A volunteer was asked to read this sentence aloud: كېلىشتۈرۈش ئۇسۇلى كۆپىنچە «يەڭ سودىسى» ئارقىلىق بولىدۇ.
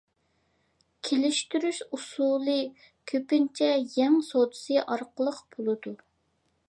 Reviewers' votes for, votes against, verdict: 2, 0, accepted